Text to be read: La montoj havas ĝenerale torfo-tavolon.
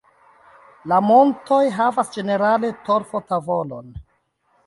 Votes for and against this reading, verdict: 2, 0, accepted